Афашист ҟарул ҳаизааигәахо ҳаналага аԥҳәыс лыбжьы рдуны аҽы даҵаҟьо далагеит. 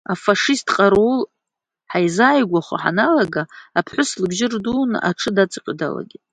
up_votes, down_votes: 2, 0